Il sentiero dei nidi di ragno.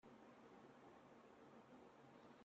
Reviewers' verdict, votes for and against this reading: rejected, 0, 2